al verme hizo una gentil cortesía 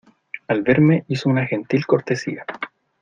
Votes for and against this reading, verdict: 2, 0, accepted